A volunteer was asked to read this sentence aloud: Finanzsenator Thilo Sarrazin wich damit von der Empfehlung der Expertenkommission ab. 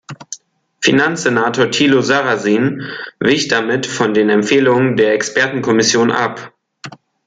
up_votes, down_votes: 0, 2